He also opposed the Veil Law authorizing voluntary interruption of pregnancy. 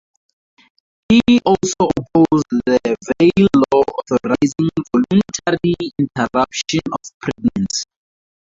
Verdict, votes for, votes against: rejected, 2, 6